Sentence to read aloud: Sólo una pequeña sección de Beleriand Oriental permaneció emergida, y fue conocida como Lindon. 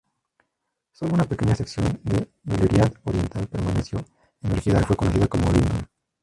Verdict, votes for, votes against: rejected, 0, 2